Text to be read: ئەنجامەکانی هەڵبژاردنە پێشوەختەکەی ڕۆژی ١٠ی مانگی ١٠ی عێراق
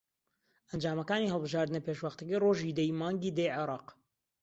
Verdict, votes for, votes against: rejected, 0, 2